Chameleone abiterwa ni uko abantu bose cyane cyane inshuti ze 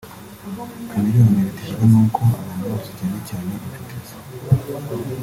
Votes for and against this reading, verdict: 1, 2, rejected